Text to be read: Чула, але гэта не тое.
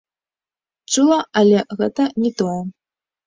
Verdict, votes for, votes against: rejected, 1, 2